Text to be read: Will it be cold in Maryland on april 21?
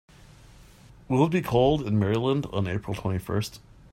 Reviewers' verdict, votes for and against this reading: rejected, 0, 2